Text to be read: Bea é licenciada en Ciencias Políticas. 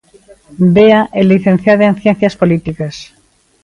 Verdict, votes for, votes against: rejected, 1, 2